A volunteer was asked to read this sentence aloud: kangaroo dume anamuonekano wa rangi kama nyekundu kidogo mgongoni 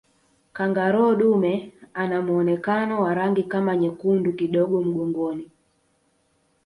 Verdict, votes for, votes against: rejected, 0, 2